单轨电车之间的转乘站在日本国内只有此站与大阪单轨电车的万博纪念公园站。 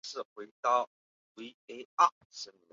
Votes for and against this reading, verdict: 1, 7, rejected